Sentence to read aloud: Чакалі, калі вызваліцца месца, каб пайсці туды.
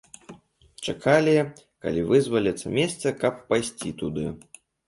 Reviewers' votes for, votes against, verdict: 2, 0, accepted